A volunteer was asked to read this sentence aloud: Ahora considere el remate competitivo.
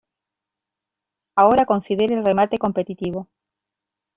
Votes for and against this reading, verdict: 2, 0, accepted